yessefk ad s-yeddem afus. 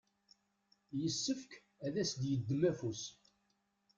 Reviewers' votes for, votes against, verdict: 0, 2, rejected